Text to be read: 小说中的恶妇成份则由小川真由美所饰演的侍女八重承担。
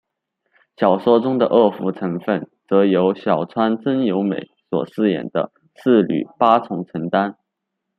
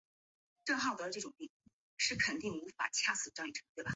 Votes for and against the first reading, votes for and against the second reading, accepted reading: 2, 1, 0, 2, first